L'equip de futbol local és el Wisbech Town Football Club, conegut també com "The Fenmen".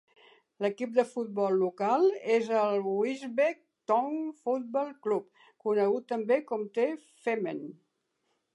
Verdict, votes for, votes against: accepted, 2, 0